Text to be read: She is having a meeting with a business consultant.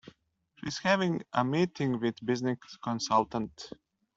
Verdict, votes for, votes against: rejected, 1, 2